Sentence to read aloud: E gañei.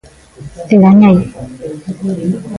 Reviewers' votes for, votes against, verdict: 0, 2, rejected